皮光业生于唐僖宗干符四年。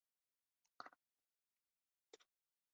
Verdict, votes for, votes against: rejected, 0, 2